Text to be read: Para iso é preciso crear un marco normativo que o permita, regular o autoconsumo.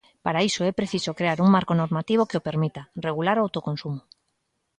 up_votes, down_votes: 2, 0